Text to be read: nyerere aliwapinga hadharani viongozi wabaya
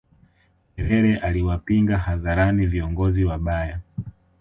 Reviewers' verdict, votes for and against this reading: accepted, 2, 0